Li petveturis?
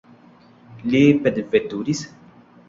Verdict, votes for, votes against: accepted, 2, 1